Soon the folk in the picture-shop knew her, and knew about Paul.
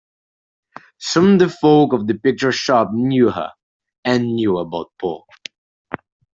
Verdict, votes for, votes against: rejected, 0, 2